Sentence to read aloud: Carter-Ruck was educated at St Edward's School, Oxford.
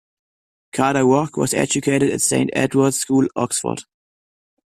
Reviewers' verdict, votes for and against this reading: accepted, 2, 1